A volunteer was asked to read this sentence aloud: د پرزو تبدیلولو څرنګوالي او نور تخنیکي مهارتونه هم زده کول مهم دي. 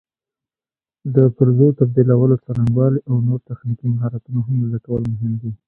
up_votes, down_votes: 2, 0